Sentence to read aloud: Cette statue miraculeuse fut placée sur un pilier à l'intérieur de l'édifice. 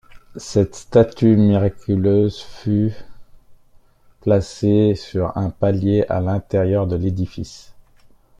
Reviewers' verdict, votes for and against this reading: rejected, 0, 2